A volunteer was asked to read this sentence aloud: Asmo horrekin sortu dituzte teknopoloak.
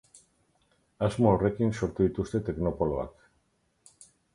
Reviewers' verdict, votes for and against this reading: accepted, 4, 0